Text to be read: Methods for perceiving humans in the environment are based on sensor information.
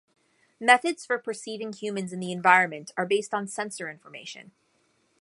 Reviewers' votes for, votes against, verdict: 2, 0, accepted